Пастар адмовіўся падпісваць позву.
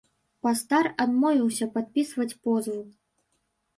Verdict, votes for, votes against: rejected, 0, 2